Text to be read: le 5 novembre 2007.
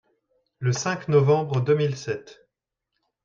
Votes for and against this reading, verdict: 0, 2, rejected